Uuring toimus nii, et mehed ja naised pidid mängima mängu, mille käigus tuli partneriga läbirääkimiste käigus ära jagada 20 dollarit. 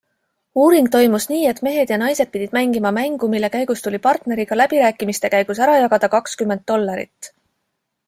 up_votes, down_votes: 0, 2